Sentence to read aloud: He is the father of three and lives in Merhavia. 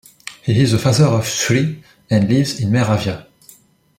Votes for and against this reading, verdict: 0, 2, rejected